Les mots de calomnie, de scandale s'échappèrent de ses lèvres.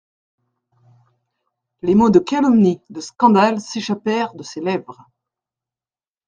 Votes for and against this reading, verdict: 1, 2, rejected